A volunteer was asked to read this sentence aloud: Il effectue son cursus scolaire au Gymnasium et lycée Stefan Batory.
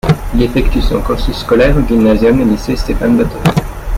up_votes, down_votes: 2, 0